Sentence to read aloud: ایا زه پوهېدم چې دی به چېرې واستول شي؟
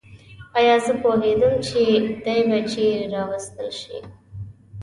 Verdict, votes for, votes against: rejected, 0, 2